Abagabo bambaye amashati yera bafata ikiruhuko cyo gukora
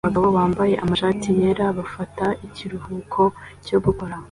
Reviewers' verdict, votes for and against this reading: accepted, 2, 1